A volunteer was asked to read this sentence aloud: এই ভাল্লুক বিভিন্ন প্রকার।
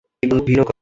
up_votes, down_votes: 1, 8